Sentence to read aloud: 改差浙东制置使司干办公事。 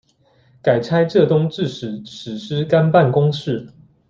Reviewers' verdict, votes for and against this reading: accepted, 2, 0